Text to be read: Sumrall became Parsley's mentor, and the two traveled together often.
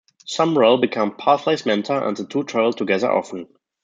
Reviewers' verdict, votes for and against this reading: rejected, 0, 2